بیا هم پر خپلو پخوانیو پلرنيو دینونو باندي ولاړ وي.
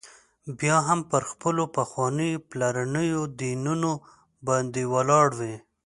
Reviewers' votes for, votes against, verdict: 2, 0, accepted